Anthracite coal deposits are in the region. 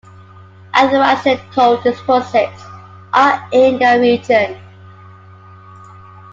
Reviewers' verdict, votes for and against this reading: accepted, 2, 0